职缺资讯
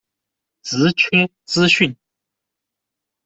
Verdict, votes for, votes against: rejected, 0, 2